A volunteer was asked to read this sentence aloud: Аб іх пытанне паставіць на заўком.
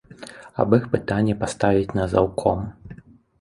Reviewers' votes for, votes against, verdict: 2, 1, accepted